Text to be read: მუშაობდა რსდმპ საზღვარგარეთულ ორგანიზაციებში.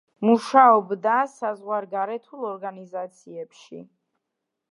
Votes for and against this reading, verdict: 0, 2, rejected